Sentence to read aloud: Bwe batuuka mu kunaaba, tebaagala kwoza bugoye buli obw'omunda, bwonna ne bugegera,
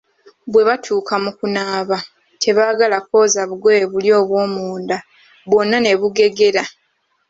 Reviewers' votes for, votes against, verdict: 2, 0, accepted